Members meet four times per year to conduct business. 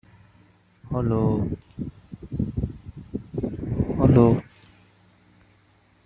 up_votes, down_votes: 0, 2